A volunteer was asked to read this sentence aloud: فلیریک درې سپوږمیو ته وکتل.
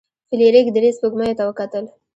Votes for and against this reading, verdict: 2, 0, accepted